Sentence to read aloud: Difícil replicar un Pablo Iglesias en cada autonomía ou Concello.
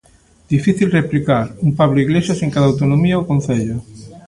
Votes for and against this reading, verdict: 1, 2, rejected